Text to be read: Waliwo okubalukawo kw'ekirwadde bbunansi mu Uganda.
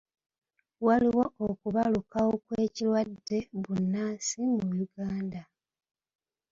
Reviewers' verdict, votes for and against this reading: rejected, 1, 2